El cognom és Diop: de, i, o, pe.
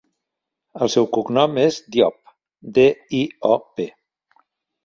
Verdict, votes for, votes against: rejected, 0, 2